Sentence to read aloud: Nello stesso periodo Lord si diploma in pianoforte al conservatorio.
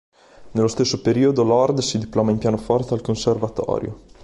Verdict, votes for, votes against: accepted, 2, 0